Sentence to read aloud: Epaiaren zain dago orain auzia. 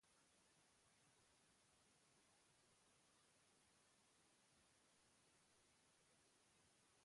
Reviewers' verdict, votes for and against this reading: rejected, 0, 2